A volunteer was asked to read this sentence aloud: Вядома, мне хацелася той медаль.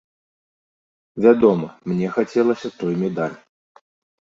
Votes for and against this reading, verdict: 2, 0, accepted